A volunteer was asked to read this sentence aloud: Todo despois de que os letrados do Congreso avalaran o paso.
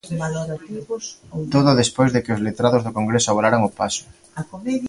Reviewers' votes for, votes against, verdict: 0, 3, rejected